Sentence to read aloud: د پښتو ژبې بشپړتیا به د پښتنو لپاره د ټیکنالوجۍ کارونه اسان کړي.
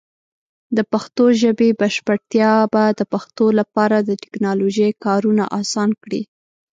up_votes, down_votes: 1, 2